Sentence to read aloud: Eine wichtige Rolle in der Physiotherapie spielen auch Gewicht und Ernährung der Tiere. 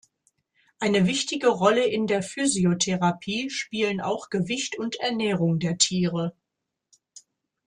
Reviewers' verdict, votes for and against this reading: accepted, 2, 0